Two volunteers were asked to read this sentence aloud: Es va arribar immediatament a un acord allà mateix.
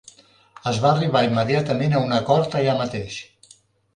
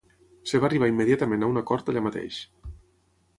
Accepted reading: first